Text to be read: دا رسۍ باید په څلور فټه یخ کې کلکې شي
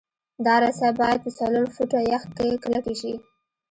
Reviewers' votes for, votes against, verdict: 2, 1, accepted